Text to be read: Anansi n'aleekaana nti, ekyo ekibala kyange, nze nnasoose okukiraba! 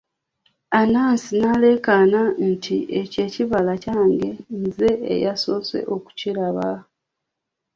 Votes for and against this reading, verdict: 0, 3, rejected